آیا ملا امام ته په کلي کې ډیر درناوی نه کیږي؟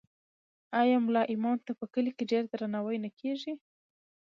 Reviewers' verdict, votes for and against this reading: rejected, 1, 2